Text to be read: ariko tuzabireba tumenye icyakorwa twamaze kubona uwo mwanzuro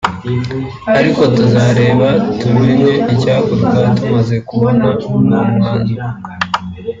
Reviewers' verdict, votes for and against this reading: rejected, 2, 3